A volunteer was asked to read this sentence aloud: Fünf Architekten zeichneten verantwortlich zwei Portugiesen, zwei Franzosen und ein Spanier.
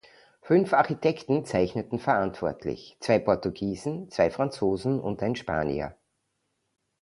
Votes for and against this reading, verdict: 2, 0, accepted